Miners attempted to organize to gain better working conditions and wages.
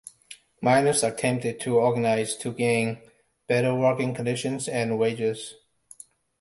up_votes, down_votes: 2, 0